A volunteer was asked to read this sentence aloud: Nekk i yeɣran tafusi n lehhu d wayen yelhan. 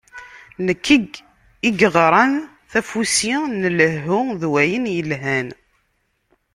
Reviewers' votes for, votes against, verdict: 0, 2, rejected